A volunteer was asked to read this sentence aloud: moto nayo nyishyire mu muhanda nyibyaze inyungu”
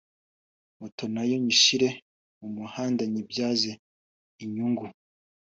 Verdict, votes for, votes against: accepted, 2, 0